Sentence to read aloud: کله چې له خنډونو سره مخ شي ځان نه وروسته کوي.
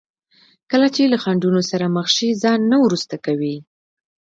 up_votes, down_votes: 1, 2